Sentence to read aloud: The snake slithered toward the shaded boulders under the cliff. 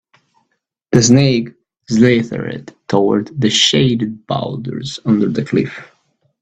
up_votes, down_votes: 3, 1